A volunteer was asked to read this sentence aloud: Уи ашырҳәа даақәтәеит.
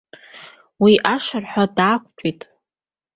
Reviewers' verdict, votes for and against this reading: accepted, 2, 1